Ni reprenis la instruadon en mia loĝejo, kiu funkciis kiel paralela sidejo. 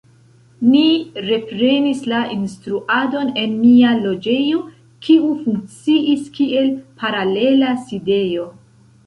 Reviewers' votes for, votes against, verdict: 2, 1, accepted